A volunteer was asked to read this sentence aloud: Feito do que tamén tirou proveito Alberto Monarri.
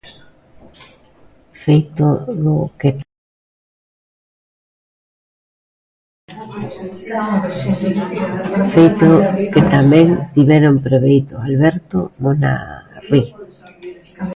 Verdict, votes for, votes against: rejected, 0, 2